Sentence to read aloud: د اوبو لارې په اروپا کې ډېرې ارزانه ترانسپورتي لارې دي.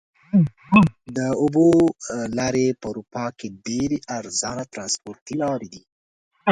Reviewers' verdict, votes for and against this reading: rejected, 1, 2